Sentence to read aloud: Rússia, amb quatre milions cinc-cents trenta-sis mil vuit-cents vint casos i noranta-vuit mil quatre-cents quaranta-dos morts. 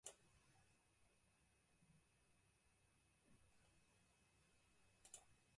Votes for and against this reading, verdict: 0, 2, rejected